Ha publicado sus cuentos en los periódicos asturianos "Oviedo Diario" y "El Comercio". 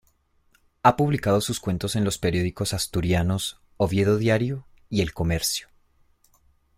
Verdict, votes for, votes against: accepted, 2, 0